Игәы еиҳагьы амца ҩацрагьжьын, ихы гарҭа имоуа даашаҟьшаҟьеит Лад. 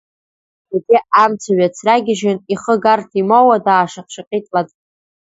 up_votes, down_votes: 0, 2